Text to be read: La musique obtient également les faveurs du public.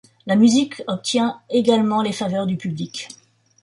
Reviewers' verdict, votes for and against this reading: accepted, 2, 0